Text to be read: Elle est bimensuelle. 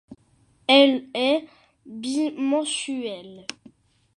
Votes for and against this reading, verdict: 2, 0, accepted